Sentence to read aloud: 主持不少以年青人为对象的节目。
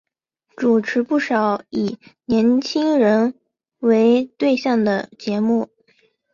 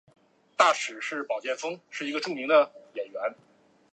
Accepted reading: first